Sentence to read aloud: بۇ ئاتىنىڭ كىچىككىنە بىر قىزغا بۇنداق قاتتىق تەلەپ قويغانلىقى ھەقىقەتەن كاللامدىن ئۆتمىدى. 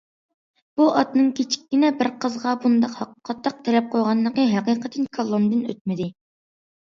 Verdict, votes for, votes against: rejected, 0, 2